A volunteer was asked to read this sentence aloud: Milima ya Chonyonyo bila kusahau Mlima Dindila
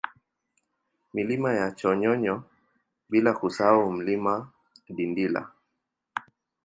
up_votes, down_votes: 2, 0